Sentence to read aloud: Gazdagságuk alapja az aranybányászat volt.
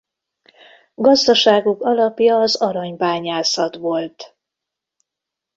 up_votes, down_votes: 2, 0